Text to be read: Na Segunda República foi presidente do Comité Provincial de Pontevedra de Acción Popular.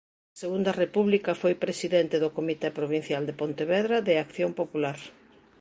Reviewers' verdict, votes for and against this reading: accepted, 2, 1